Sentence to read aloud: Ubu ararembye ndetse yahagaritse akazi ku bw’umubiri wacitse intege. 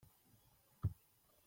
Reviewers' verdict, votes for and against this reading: rejected, 0, 3